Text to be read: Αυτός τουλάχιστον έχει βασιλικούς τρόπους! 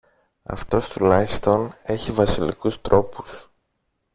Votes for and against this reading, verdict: 2, 0, accepted